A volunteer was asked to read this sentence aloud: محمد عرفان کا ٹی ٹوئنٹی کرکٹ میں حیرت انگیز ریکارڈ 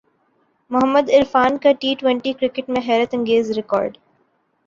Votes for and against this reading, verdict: 3, 0, accepted